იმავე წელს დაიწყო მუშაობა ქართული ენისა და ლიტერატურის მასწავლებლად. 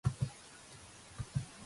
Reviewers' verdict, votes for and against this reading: rejected, 0, 2